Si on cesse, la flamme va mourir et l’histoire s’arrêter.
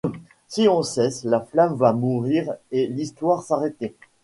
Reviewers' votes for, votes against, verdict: 2, 0, accepted